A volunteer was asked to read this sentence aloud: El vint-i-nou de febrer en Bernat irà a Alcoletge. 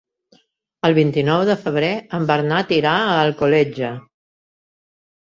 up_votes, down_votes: 3, 0